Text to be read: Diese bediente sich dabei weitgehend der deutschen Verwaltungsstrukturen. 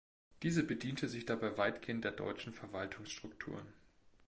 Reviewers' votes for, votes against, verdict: 1, 2, rejected